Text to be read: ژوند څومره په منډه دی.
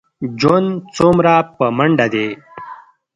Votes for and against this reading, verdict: 1, 2, rejected